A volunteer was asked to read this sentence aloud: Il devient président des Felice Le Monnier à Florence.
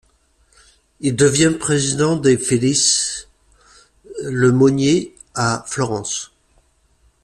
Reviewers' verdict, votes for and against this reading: accepted, 2, 0